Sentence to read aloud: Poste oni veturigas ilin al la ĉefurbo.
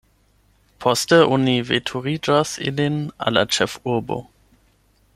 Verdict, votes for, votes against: rejected, 4, 8